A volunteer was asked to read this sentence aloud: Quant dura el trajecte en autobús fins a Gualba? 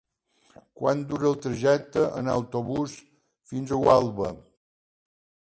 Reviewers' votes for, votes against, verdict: 3, 0, accepted